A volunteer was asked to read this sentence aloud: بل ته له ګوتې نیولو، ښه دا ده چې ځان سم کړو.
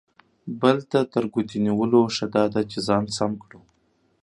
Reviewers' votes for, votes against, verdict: 1, 2, rejected